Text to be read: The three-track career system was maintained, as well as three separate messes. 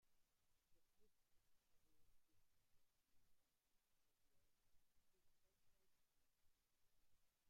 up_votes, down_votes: 0, 3